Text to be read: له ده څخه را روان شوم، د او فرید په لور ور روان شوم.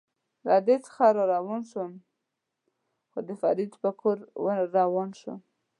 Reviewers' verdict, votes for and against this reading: rejected, 0, 2